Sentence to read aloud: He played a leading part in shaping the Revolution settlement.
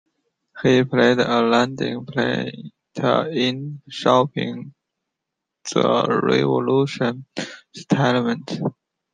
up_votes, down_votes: 1, 2